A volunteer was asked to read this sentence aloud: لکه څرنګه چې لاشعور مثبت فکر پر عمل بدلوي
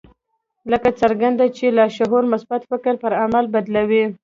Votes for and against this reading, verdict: 0, 2, rejected